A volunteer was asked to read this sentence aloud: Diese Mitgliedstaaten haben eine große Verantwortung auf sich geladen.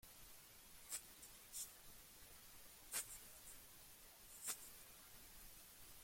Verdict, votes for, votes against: rejected, 0, 2